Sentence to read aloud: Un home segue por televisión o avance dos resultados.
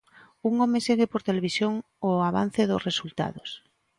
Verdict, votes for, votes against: accepted, 2, 0